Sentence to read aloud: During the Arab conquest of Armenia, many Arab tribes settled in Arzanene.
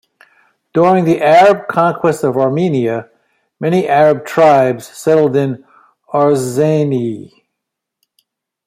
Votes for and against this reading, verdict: 0, 2, rejected